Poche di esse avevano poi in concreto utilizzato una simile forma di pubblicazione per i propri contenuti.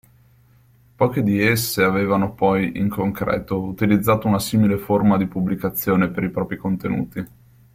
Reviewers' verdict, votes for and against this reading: accepted, 2, 1